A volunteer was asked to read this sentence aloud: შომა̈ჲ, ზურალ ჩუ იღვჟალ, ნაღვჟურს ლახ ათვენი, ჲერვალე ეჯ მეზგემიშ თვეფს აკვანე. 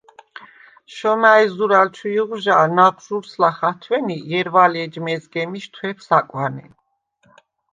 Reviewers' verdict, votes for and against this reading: accepted, 2, 0